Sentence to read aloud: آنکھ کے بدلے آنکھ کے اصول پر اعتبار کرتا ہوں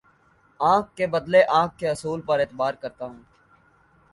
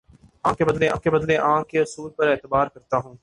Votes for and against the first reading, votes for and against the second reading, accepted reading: 2, 0, 0, 2, first